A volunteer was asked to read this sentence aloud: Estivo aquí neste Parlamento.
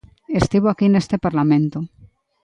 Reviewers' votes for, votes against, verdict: 2, 0, accepted